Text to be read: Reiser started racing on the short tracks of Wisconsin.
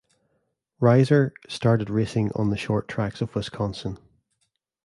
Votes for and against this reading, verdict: 2, 0, accepted